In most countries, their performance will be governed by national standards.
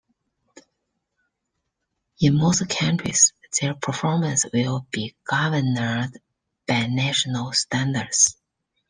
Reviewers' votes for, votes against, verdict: 1, 2, rejected